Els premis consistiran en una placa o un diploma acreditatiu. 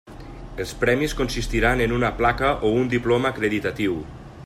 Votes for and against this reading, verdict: 3, 0, accepted